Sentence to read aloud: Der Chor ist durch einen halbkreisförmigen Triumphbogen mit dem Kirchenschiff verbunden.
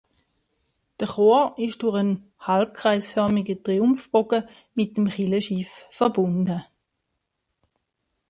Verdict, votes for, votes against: rejected, 1, 2